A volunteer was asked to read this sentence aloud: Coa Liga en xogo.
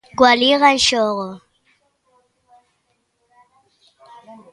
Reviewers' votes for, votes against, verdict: 2, 1, accepted